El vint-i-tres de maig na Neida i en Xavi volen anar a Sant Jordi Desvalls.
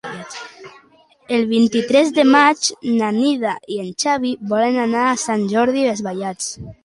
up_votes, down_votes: 1, 2